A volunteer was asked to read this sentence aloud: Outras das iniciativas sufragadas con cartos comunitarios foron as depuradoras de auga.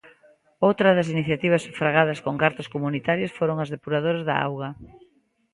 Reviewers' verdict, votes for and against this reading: rejected, 0, 2